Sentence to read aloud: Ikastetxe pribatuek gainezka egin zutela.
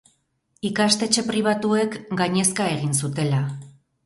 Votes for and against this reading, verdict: 0, 2, rejected